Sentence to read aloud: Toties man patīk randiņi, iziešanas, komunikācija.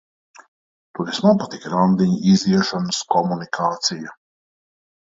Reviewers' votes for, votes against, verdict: 0, 2, rejected